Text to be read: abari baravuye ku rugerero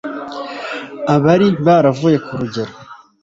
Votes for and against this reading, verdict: 1, 2, rejected